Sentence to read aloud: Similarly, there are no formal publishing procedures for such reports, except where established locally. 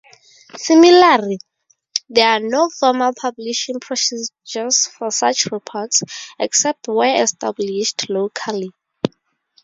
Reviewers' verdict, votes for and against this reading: rejected, 0, 2